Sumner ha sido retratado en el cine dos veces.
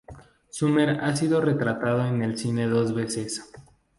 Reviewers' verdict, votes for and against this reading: accepted, 2, 0